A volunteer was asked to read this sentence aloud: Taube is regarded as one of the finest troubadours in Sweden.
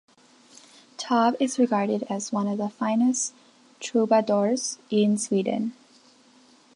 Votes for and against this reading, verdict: 1, 2, rejected